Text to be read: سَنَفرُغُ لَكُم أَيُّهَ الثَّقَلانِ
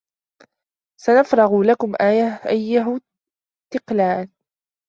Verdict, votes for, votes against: rejected, 1, 2